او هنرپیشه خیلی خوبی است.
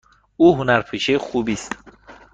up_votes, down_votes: 1, 2